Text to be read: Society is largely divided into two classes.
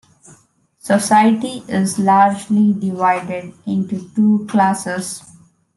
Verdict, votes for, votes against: accepted, 2, 0